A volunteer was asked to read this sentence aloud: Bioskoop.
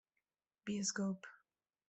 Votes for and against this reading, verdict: 0, 2, rejected